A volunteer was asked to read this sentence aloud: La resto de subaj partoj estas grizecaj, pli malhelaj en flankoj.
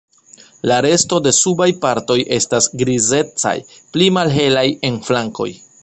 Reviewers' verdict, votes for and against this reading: accepted, 2, 0